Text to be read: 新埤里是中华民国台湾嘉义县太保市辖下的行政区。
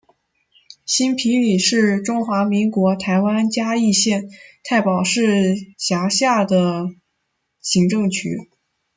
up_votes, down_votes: 1, 2